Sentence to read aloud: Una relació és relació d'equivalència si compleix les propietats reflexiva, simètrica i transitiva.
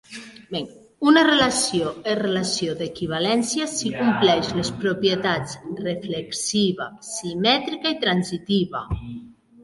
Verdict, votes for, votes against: accepted, 3, 2